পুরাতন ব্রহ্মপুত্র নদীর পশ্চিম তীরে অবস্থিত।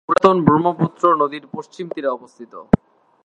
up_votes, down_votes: 2, 0